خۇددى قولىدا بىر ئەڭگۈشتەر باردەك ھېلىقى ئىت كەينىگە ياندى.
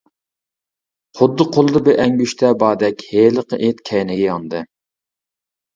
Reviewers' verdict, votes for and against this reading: rejected, 1, 2